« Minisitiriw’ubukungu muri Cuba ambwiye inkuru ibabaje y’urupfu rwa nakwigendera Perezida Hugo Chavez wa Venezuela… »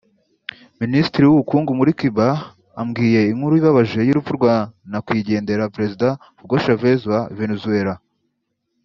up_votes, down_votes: 2, 0